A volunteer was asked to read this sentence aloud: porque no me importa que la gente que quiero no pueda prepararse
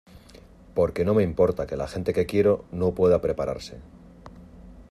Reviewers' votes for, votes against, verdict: 2, 1, accepted